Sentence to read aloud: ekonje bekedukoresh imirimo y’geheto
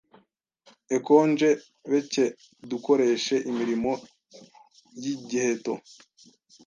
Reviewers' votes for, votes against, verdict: 1, 2, rejected